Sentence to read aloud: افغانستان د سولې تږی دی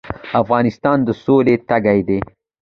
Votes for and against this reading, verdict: 2, 0, accepted